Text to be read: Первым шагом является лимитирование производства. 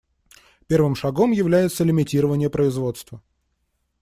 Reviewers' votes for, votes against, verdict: 2, 0, accepted